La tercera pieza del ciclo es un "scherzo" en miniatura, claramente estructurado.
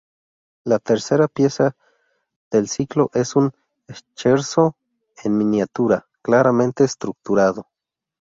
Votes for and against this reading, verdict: 0, 2, rejected